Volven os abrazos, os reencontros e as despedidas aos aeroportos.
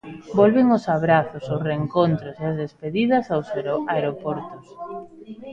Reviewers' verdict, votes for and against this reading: rejected, 0, 2